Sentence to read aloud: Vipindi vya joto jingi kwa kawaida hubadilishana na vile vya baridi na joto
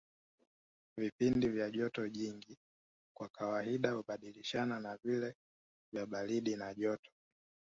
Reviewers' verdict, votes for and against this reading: rejected, 1, 2